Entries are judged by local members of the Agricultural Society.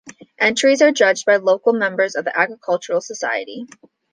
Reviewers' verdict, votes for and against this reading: accepted, 2, 0